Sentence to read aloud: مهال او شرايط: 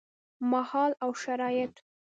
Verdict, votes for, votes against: rejected, 1, 2